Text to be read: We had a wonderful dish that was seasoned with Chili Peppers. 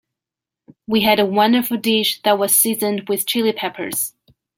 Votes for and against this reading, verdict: 2, 0, accepted